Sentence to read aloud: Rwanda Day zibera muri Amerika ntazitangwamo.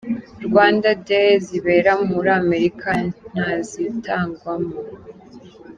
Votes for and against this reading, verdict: 2, 0, accepted